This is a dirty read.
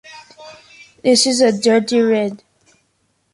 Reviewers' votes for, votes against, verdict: 3, 2, accepted